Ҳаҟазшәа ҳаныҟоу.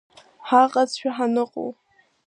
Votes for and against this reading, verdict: 1, 2, rejected